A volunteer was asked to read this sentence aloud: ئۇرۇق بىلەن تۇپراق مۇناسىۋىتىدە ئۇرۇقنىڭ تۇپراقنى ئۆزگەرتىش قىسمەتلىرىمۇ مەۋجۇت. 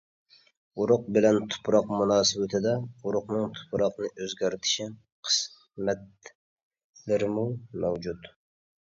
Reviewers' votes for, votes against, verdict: 1, 2, rejected